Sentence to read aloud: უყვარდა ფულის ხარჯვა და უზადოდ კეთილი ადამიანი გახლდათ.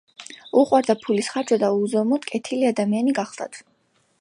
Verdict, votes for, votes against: rejected, 1, 2